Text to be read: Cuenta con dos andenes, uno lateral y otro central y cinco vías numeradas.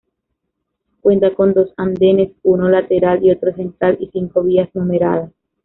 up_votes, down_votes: 1, 2